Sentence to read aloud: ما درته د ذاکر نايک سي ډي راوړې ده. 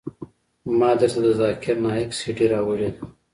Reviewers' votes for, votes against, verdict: 2, 0, accepted